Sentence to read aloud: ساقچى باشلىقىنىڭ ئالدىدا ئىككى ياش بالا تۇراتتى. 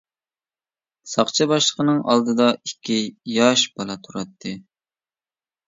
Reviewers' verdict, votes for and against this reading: accepted, 2, 0